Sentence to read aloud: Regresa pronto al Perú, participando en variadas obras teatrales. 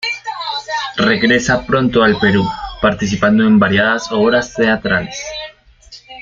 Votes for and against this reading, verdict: 2, 1, accepted